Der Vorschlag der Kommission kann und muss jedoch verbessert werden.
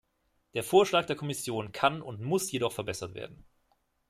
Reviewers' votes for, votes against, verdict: 2, 0, accepted